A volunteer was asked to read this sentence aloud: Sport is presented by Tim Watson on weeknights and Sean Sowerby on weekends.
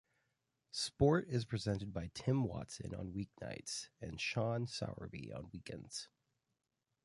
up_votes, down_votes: 2, 0